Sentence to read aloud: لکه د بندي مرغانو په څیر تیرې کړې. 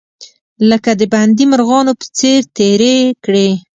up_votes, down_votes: 2, 0